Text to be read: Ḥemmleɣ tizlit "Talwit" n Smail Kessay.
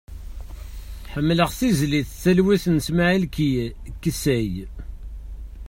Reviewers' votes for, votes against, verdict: 0, 2, rejected